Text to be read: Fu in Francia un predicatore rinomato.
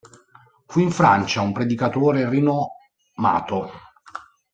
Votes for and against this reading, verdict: 1, 2, rejected